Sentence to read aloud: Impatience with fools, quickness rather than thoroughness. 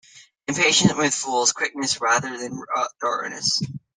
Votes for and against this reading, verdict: 1, 2, rejected